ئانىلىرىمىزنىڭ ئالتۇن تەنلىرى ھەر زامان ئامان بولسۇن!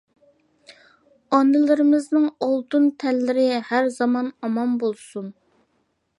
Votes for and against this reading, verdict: 2, 0, accepted